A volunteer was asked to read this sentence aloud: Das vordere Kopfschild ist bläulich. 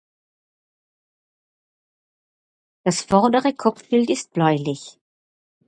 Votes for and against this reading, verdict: 2, 4, rejected